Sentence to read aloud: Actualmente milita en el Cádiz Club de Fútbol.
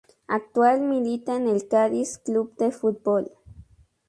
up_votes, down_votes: 0, 2